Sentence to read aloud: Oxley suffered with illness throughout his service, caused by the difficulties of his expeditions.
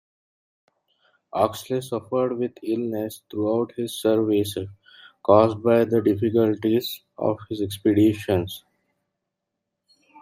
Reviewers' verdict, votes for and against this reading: accepted, 2, 0